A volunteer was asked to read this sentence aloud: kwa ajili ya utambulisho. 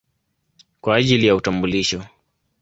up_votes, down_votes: 2, 1